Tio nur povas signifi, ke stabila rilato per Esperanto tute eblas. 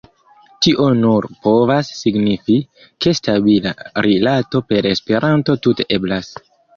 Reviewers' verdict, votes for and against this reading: accepted, 2, 1